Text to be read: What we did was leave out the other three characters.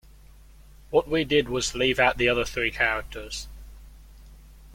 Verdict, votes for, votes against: accepted, 2, 0